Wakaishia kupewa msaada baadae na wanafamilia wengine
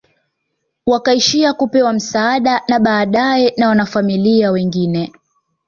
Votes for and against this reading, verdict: 2, 0, accepted